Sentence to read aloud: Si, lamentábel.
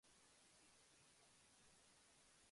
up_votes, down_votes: 0, 2